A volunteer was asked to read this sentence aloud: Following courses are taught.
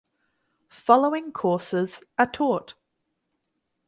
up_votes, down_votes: 2, 4